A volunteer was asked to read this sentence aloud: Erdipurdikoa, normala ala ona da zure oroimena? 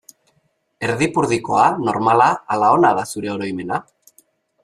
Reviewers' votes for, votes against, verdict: 2, 0, accepted